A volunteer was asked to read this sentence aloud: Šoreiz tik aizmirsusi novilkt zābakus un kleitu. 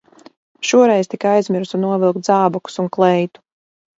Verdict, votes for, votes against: rejected, 0, 4